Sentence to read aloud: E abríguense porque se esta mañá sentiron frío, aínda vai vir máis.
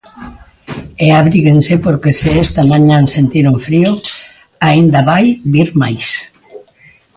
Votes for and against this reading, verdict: 2, 0, accepted